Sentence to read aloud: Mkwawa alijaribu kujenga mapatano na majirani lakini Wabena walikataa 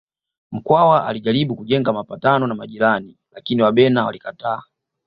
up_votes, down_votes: 2, 0